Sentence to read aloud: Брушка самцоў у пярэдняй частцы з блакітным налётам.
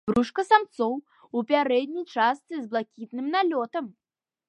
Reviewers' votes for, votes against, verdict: 2, 0, accepted